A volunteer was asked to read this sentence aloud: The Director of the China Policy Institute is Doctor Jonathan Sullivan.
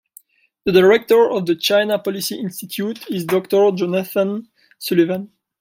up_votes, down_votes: 2, 1